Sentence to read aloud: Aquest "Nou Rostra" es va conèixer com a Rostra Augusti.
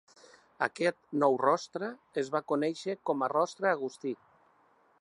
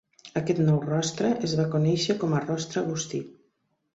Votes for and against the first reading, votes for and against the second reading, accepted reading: 1, 2, 2, 1, second